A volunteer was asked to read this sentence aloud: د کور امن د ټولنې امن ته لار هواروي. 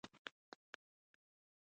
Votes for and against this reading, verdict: 1, 2, rejected